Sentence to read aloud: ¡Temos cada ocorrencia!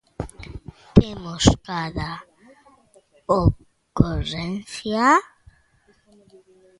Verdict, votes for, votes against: rejected, 1, 2